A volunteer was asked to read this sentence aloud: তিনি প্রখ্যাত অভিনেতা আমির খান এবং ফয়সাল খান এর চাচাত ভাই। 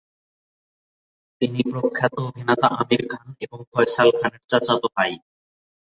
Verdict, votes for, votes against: rejected, 3, 7